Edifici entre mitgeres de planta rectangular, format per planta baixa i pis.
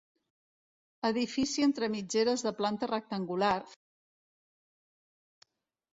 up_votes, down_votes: 1, 2